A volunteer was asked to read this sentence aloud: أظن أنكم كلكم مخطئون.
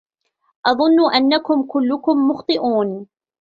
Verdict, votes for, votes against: rejected, 1, 2